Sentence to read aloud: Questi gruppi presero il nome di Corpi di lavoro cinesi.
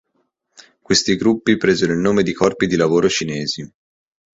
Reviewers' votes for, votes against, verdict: 3, 0, accepted